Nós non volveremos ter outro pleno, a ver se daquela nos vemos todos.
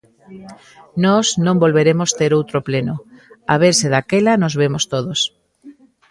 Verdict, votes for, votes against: rejected, 0, 2